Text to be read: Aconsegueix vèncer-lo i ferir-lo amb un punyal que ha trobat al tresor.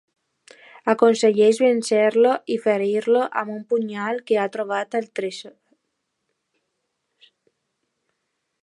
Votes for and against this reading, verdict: 0, 2, rejected